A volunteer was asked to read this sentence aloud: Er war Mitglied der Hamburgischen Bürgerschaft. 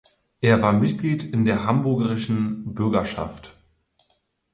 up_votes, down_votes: 0, 4